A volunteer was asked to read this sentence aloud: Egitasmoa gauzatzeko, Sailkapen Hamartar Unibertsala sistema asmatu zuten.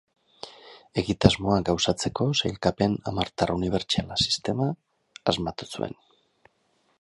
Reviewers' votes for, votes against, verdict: 2, 4, rejected